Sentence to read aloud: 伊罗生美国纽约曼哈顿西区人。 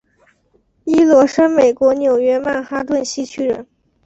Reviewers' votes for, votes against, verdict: 4, 0, accepted